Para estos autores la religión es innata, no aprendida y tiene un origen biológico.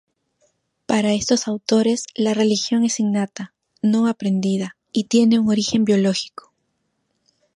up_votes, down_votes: 2, 0